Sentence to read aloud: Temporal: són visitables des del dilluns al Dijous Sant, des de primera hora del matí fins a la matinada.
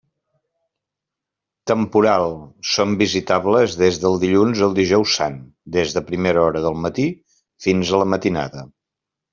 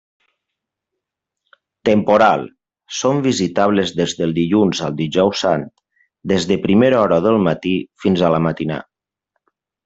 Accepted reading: first